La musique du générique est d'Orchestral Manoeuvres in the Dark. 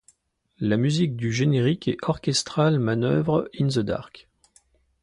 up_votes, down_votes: 1, 2